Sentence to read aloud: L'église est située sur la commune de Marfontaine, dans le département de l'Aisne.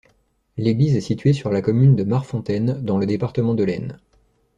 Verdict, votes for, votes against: accepted, 2, 0